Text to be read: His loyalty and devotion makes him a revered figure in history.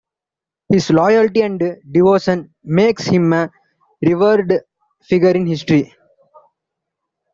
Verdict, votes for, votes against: rejected, 0, 2